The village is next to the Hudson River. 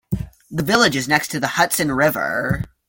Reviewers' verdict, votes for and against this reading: accepted, 2, 0